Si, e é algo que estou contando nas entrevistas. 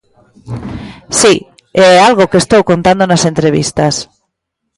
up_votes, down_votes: 2, 0